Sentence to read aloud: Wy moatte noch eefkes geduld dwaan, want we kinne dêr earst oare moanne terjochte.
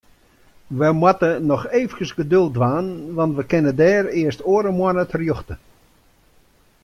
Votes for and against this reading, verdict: 2, 0, accepted